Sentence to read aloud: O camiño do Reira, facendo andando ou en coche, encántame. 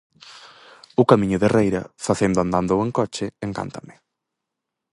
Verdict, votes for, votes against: rejected, 0, 4